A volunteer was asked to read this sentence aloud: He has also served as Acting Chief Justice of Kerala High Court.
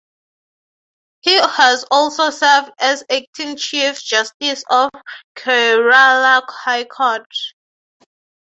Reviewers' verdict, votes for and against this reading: rejected, 3, 3